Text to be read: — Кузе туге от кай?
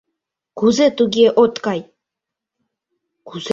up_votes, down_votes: 0, 2